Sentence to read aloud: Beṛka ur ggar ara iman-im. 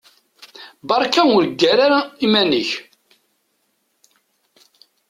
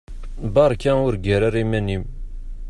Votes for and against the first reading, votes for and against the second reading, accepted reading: 1, 2, 2, 0, second